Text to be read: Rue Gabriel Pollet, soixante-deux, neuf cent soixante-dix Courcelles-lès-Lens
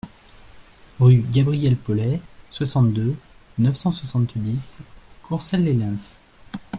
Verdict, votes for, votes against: accepted, 2, 0